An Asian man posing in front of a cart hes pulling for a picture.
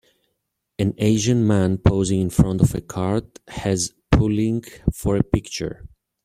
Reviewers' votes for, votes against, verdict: 1, 2, rejected